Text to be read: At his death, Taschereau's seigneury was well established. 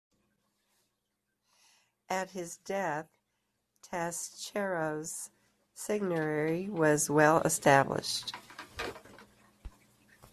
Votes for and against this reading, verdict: 2, 1, accepted